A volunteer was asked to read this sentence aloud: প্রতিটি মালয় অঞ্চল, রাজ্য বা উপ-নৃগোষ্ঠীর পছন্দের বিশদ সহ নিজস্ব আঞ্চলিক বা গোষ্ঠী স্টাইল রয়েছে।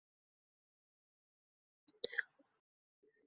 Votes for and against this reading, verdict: 0, 4, rejected